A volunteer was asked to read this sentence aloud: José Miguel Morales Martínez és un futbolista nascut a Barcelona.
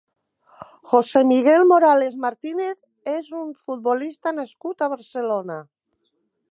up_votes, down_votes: 1, 2